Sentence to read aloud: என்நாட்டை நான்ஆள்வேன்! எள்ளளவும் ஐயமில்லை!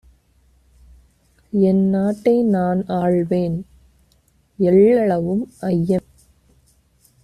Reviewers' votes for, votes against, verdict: 0, 2, rejected